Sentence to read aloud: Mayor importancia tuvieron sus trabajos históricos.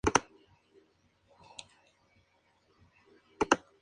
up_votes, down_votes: 0, 2